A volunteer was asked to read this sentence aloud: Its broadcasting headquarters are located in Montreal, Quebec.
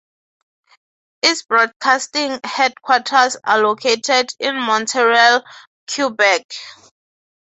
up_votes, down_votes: 9, 0